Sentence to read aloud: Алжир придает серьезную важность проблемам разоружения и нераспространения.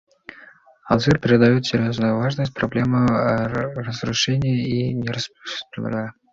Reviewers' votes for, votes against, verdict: 1, 2, rejected